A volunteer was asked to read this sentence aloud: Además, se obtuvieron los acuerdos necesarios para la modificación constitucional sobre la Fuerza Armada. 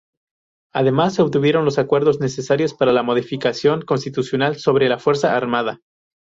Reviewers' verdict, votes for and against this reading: rejected, 0, 2